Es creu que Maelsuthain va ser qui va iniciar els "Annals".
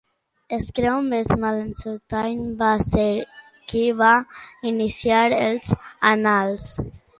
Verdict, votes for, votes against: rejected, 0, 2